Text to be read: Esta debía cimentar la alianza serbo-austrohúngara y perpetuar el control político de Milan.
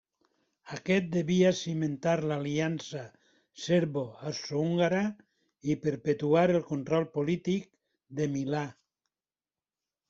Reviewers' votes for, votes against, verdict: 0, 2, rejected